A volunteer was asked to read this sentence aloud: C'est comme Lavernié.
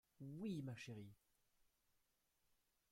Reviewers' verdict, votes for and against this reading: rejected, 0, 2